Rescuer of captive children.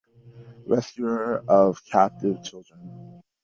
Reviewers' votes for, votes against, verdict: 2, 1, accepted